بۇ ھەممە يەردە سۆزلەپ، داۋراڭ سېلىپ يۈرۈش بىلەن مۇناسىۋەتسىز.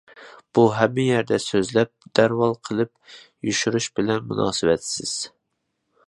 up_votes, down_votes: 0, 2